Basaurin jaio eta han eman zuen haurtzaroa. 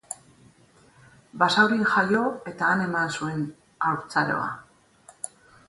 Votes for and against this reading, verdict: 4, 0, accepted